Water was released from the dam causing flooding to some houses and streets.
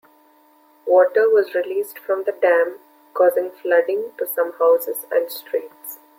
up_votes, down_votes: 2, 0